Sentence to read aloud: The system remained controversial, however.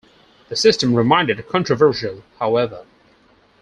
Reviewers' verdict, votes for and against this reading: rejected, 0, 4